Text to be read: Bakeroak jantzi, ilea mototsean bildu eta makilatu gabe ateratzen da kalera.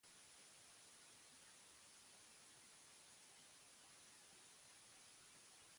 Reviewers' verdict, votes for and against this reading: rejected, 0, 3